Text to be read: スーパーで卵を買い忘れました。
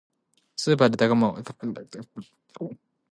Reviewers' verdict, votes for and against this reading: rejected, 1, 3